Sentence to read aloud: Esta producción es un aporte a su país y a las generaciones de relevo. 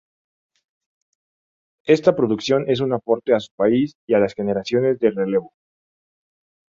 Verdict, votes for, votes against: accepted, 2, 0